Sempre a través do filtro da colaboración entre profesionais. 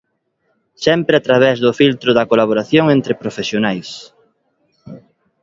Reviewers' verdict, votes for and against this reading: accepted, 2, 0